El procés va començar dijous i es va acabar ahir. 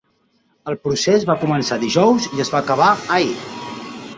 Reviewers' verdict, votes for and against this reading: rejected, 1, 2